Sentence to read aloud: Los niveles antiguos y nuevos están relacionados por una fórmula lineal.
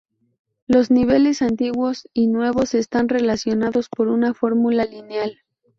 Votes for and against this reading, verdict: 0, 2, rejected